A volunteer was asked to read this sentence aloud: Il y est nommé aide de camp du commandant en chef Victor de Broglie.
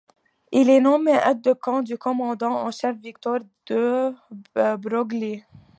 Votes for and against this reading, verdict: 1, 2, rejected